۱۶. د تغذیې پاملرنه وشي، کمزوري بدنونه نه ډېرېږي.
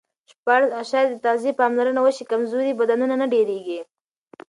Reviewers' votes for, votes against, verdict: 0, 2, rejected